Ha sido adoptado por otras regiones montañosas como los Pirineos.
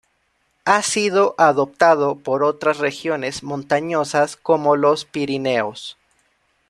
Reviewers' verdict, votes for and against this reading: accepted, 2, 0